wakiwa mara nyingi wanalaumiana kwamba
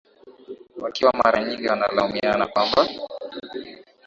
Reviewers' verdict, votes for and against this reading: accepted, 2, 0